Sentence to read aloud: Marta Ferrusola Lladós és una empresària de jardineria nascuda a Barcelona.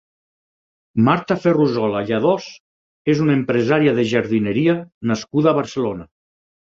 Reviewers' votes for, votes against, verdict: 4, 0, accepted